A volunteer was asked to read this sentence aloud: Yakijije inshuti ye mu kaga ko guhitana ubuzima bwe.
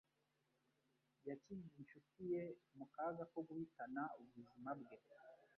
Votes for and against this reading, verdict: 1, 2, rejected